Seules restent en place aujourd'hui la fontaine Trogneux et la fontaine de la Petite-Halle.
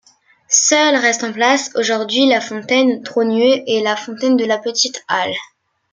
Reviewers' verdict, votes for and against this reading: accepted, 2, 0